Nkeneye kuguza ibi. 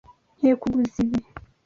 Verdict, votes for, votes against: rejected, 1, 2